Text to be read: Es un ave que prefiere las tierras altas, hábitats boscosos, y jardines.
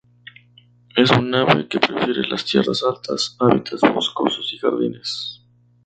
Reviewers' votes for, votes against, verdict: 0, 2, rejected